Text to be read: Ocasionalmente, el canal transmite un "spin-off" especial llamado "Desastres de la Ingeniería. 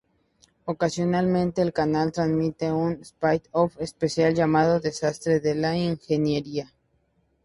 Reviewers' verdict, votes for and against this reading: accepted, 2, 0